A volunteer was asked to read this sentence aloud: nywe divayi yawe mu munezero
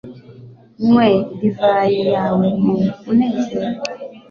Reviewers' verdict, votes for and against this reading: accepted, 2, 0